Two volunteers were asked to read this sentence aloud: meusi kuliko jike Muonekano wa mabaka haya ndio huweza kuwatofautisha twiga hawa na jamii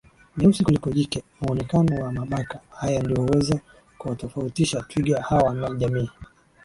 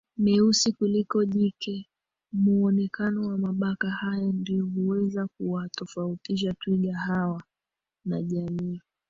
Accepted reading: first